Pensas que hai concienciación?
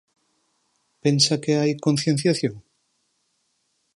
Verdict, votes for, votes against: rejected, 0, 6